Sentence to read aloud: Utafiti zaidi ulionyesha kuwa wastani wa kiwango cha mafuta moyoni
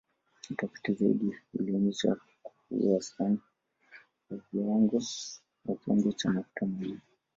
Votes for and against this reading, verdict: 1, 2, rejected